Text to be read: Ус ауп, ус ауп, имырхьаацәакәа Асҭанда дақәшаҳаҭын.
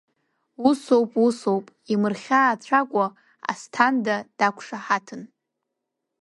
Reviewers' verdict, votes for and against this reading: rejected, 1, 2